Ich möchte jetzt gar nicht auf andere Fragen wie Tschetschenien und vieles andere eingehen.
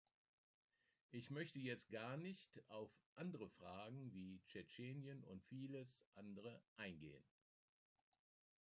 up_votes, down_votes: 2, 0